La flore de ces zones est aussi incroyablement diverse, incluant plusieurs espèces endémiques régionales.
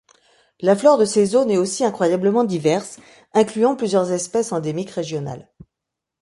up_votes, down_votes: 2, 0